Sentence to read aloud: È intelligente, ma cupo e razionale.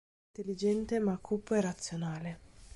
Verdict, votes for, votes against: rejected, 2, 3